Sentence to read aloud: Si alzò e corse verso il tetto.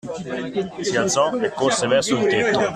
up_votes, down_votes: 2, 0